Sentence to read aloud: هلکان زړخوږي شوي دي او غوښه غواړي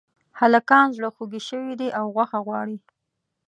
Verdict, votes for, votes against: accepted, 2, 0